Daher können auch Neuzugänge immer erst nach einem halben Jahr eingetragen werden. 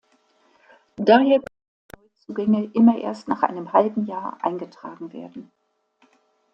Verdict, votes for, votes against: rejected, 0, 2